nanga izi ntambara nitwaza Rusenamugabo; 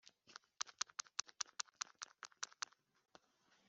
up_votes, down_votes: 0, 2